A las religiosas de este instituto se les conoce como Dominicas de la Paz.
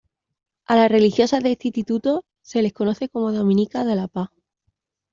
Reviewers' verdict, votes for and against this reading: accepted, 2, 0